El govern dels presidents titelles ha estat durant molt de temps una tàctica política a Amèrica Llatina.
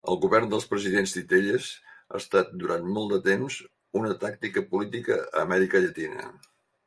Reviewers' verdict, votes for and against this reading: accepted, 4, 0